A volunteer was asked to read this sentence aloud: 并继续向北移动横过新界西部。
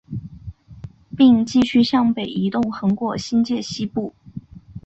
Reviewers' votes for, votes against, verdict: 4, 0, accepted